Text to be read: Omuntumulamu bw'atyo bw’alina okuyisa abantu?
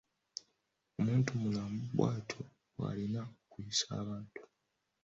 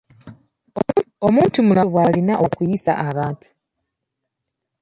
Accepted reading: first